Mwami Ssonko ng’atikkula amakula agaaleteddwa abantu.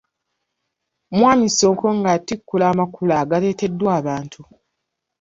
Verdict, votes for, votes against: rejected, 0, 2